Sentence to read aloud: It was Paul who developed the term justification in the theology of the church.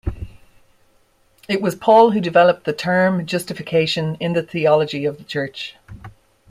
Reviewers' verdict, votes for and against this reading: accepted, 2, 0